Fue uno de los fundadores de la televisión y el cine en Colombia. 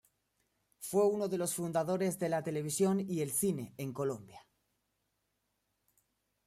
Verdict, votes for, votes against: accepted, 2, 0